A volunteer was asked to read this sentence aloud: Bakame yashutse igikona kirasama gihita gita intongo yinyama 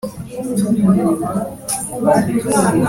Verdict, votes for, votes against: rejected, 1, 3